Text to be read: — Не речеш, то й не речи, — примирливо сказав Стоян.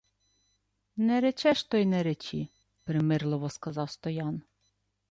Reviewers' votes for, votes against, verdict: 2, 0, accepted